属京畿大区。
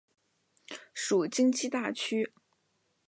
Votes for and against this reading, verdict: 2, 0, accepted